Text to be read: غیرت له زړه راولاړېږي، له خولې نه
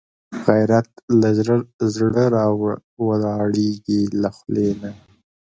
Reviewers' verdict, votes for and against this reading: rejected, 0, 3